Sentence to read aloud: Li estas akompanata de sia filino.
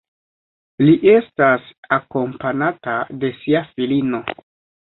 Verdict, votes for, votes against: accepted, 3, 0